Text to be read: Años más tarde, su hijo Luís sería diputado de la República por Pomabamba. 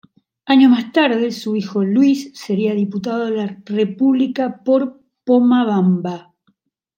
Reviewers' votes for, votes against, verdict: 0, 2, rejected